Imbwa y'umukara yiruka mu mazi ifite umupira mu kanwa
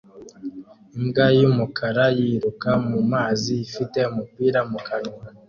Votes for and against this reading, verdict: 2, 0, accepted